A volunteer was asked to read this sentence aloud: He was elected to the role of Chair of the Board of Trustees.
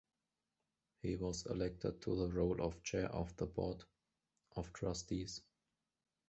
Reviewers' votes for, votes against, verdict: 2, 1, accepted